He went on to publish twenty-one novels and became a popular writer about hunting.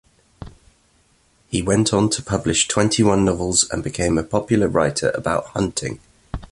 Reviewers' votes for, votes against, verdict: 2, 0, accepted